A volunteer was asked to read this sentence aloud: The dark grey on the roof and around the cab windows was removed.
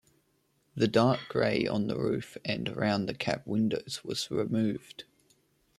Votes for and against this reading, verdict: 1, 2, rejected